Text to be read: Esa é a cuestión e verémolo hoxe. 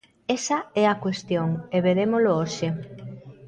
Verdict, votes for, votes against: accepted, 2, 0